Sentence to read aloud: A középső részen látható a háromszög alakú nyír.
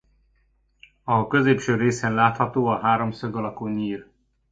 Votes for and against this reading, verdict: 2, 0, accepted